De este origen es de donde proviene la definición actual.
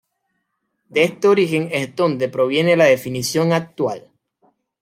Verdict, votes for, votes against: accepted, 2, 1